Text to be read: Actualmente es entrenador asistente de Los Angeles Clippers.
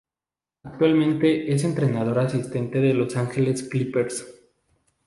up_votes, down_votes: 0, 2